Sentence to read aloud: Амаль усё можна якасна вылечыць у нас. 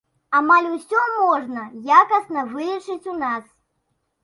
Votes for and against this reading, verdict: 2, 0, accepted